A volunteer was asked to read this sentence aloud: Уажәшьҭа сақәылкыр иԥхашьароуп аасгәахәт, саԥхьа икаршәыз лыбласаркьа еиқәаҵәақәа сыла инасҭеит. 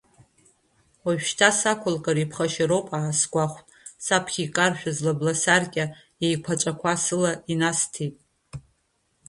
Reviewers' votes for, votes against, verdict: 0, 2, rejected